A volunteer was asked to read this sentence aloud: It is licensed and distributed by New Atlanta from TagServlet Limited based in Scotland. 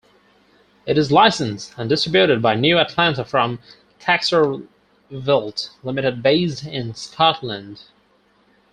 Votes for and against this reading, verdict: 0, 4, rejected